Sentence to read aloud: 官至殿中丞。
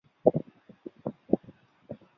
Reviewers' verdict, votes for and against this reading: rejected, 0, 3